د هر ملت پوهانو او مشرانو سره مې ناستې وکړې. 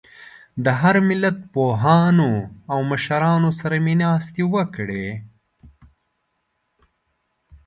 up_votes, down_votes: 2, 0